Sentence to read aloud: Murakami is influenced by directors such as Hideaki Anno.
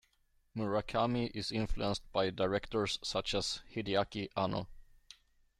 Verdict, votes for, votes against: rejected, 1, 2